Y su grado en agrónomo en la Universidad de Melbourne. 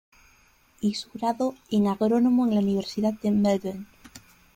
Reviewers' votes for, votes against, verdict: 2, 0, accepted